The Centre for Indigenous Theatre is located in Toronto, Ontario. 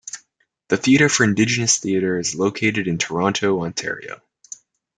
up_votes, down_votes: 0, 2